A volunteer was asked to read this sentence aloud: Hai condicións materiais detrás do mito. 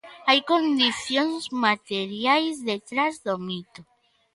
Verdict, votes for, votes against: accepted, 2, 0